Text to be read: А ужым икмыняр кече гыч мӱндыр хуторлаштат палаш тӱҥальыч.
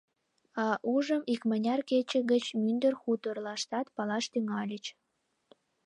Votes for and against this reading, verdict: 2, 0, accepted